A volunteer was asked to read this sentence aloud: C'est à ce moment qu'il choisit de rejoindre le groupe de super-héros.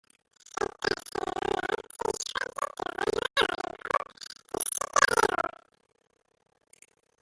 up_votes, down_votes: 0, 2